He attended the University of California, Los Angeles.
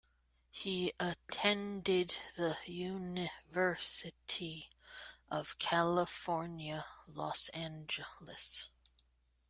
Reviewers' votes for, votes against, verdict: 1, 2, rejected